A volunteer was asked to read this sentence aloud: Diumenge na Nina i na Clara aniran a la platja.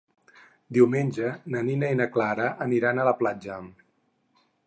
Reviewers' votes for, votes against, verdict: 6, 0, accepted